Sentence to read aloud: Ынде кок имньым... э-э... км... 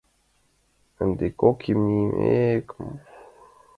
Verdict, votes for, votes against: accepted, 5, 4